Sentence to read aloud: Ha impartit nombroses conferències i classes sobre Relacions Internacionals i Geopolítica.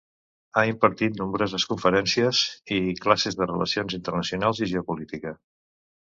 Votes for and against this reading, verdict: 1, 2, rejected